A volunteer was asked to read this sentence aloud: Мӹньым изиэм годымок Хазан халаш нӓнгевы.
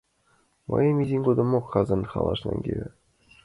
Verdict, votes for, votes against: accepted, 2, 0